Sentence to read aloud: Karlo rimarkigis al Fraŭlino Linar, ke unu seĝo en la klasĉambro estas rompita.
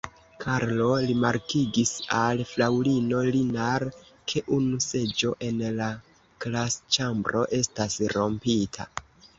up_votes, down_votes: 0, 3